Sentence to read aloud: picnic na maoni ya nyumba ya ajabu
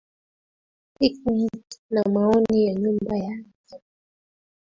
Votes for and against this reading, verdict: 0, 2, rejected